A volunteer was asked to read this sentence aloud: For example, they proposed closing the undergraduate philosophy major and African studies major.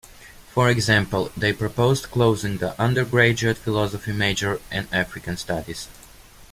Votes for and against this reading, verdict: 0, 2, rejected